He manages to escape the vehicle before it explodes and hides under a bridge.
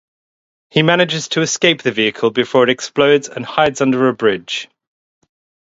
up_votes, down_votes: 2, 0